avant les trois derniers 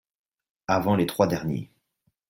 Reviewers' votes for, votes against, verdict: 2, 0, accepted